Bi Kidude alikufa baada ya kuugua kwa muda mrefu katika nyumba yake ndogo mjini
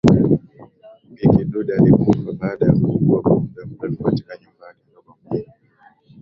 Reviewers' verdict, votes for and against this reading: rejected, 0, 2